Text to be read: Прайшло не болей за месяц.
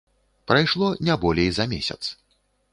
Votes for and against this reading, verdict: 2, 0, accepted